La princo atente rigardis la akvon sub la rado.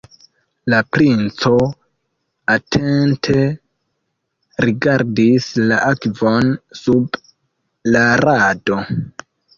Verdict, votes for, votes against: accepted, 3, 1